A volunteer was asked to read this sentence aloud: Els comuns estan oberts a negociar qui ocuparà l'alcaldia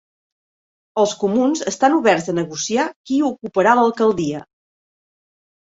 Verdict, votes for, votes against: accepted, 3, 0